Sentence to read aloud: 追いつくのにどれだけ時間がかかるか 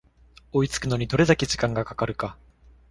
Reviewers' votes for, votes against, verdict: 2, 0, accepted